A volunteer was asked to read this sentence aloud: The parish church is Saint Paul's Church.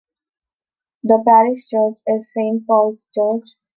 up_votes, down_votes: 2, 0